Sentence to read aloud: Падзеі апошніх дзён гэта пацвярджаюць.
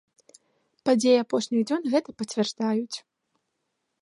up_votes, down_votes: 1, 2